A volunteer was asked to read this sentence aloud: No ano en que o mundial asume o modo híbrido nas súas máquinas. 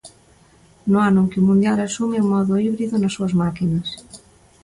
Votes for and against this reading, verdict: 2, 0, accepted